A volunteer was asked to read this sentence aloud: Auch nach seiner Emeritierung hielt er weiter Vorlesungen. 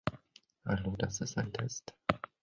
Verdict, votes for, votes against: rejected, 0, 2